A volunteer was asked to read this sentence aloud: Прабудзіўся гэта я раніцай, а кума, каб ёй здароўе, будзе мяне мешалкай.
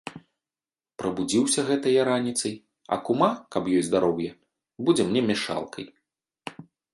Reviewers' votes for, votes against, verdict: 0, 2, rejected